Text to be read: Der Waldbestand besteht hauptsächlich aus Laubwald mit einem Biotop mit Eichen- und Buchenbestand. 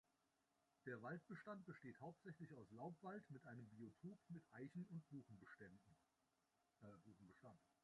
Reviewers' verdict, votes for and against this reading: rejected, 0, 2